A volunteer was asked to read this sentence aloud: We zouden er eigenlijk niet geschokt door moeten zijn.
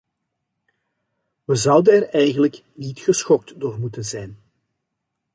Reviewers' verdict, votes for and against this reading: accepted, 2, 0